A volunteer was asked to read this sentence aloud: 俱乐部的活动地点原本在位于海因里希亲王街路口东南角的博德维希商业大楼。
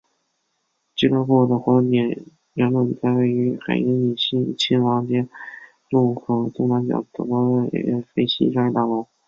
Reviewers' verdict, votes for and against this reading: rejected, 1, 2